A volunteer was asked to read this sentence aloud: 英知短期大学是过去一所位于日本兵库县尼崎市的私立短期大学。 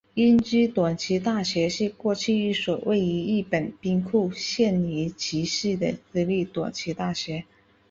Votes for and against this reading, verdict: 3, 1, accepted